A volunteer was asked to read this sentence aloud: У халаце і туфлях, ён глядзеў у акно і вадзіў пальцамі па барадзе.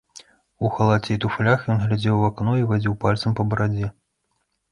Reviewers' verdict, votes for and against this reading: rejected, 1, 2